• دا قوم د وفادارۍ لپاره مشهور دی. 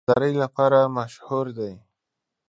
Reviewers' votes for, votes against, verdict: 1, 2, rejected